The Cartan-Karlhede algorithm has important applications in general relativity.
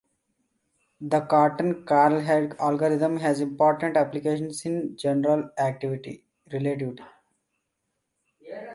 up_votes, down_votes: 0, 2